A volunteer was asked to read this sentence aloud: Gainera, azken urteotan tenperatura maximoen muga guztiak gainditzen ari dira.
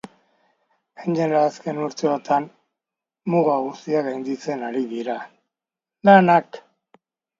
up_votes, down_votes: 0, 3